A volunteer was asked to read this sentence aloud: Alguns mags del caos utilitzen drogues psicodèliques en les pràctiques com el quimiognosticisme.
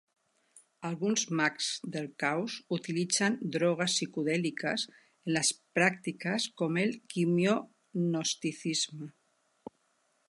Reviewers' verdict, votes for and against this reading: rejected, 1, 2